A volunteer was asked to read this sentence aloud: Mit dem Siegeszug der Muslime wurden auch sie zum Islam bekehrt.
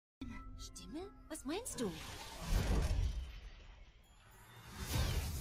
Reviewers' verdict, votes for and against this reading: rejected, 0, 2